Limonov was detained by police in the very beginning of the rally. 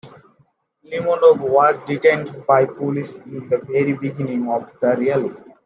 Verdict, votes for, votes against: rejected, 1, 2